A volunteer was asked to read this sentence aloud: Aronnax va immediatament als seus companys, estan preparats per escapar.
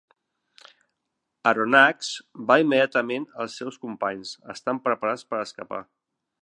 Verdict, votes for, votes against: accepted, 3, 0